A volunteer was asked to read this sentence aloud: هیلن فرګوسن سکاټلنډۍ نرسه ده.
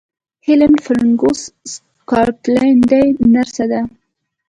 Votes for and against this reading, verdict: 0, 2, rejected